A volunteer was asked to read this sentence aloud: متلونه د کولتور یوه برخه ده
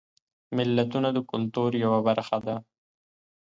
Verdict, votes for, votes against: rejected, 1, 2